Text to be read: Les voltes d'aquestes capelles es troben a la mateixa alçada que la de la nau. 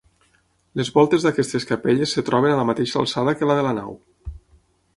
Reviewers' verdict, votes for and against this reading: rejected, 3, 6